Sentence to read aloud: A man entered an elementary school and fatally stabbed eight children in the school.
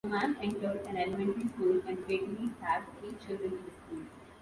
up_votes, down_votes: 1, 2